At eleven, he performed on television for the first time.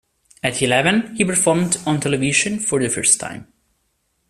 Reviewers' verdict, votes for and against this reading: accepted, 2, 0